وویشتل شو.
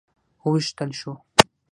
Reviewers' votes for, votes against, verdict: 3, 6, rejected